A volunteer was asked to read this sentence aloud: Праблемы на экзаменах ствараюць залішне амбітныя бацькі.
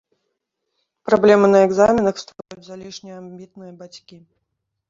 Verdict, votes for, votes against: rejected, 0, 2